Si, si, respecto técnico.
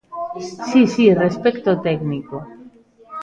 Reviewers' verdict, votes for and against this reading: accepted, 2, 1